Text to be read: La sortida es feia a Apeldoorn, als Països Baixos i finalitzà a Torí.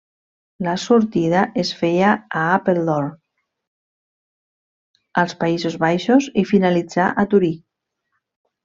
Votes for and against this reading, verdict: 1, 2, rejected